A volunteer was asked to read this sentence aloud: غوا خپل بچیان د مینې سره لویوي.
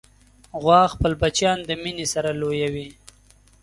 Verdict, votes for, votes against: accepted, 2, 0